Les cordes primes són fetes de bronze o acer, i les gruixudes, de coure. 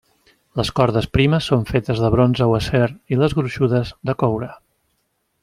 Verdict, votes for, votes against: accepted, 3, 0